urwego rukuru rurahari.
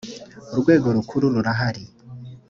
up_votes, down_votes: 2, 0